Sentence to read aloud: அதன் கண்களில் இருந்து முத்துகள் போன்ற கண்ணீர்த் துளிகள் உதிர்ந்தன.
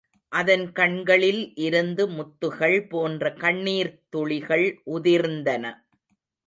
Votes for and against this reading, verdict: 0, 2, rejected